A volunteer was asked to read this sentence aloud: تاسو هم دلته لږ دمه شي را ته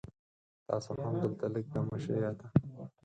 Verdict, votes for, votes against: rejected, 0, 4